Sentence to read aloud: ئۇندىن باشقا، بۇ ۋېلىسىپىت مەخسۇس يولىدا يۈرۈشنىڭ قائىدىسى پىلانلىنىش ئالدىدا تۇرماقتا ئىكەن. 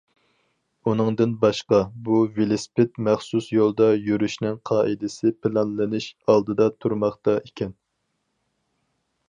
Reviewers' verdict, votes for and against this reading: rejected, 2, 4